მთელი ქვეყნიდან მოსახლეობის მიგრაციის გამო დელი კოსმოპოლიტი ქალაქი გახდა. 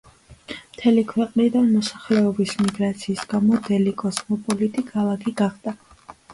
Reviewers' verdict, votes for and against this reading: accepted, 2, 0